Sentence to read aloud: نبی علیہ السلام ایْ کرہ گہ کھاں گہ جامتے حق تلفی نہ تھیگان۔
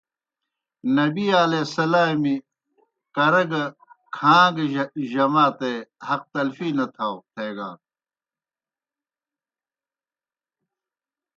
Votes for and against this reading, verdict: 0, 2, rejected